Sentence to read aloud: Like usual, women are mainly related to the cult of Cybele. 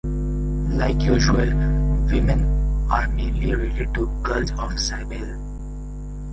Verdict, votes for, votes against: rejected, 0, 2